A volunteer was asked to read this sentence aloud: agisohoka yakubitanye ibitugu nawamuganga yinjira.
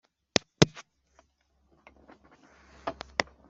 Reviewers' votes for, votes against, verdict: 0, 2, rejected